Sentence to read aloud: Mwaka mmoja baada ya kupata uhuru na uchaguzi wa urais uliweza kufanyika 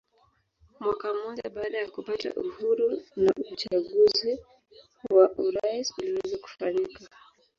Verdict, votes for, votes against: rejected, 0, 2